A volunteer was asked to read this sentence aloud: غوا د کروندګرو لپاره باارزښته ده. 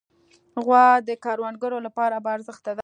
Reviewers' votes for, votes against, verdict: 2, 0, accepted